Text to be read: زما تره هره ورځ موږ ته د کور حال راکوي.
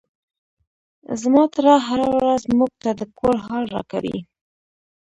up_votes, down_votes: 0, 2